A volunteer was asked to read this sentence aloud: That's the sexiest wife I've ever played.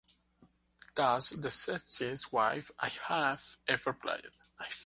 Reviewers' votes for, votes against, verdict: 1, 2, rejected